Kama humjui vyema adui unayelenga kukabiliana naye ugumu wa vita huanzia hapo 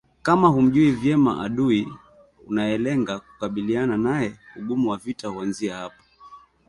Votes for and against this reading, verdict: 2, 1, accepted